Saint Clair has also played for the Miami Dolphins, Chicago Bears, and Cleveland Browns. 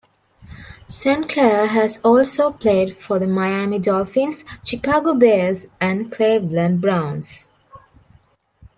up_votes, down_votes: 2, 0